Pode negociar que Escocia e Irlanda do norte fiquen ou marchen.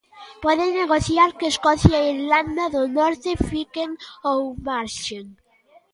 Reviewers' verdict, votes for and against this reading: rejected, 1, 2